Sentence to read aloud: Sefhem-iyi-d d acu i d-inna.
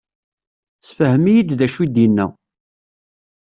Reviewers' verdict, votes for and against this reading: accepted, 2, 0